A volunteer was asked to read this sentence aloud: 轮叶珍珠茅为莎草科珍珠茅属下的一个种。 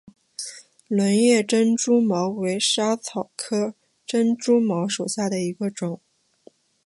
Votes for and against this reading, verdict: 2, 0, accepted